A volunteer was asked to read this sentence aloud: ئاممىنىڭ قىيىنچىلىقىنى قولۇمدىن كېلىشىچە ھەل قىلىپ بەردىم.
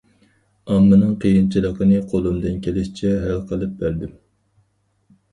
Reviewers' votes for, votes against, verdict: 4, 0, accepted